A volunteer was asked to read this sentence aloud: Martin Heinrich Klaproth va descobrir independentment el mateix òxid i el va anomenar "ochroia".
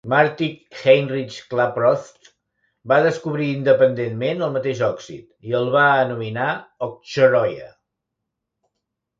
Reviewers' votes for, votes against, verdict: 0, 2, rejected